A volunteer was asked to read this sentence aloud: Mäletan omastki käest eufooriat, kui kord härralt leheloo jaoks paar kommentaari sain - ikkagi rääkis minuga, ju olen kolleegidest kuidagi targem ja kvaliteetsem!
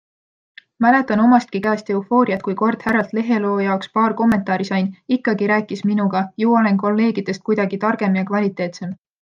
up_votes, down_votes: 2, 0